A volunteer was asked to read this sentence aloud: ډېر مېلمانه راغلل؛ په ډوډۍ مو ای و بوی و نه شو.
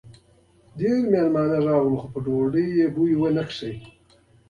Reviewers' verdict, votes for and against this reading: accepted, 2, 0